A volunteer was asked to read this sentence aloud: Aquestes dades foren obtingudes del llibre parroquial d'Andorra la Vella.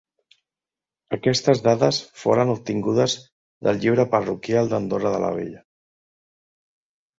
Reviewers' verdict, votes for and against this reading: rejected, 0, 2